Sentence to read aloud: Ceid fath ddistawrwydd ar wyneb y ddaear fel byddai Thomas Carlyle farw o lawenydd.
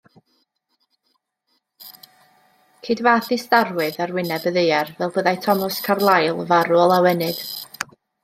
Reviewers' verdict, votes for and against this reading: accepted, 2, 1